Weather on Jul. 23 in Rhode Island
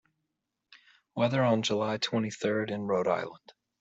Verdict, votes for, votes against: rejected, 0, 2